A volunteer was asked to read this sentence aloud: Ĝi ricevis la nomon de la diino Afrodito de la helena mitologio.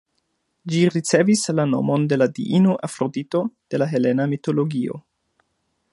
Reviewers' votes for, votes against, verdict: 2, 0, accepted